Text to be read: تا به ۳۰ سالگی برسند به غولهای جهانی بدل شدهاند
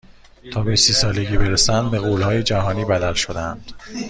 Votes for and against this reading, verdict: 0, 2, rejected